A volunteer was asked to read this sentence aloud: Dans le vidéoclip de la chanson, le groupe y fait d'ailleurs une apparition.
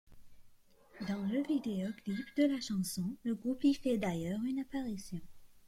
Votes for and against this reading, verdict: 1, 2, rejected